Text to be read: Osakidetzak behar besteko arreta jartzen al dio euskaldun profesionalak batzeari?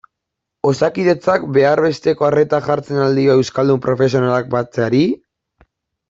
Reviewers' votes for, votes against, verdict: 2, 0, accepted